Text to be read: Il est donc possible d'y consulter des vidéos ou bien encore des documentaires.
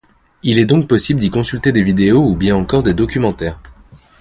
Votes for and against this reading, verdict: 2, 0, accepted